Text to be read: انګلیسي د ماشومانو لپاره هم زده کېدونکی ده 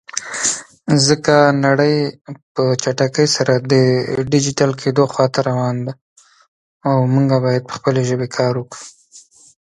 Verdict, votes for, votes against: rejected, 1, 2